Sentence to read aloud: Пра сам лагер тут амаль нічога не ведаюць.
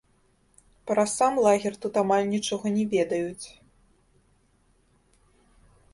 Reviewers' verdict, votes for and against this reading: rejected, 0, 2